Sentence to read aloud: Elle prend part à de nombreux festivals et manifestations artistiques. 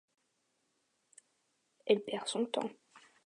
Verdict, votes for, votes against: rejected, 0, 2